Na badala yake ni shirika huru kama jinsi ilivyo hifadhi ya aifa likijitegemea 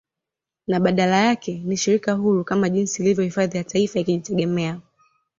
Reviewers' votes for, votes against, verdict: 2, 1, accepted